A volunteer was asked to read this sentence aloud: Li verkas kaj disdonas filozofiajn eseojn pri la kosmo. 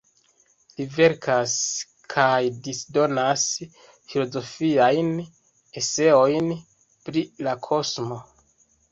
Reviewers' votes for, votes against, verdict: 2, 0, accepted